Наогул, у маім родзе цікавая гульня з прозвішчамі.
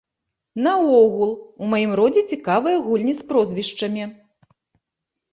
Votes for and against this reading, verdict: 1, 2, rejected